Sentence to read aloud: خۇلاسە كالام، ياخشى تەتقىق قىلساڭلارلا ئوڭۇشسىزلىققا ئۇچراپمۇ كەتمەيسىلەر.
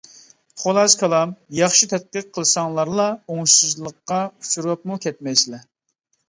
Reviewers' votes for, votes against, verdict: 0, 2, rejected